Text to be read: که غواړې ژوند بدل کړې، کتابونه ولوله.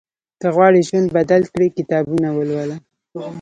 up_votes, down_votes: 1, 2